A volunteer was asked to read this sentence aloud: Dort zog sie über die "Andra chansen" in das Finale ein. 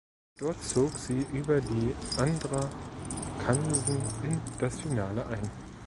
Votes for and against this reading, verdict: 1, 2, rejected